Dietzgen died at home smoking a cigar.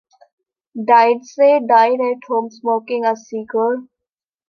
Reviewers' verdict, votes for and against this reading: rejected, 0, 2